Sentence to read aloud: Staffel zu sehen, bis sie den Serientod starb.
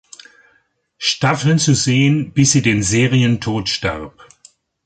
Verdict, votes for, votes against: accepted, 2, 1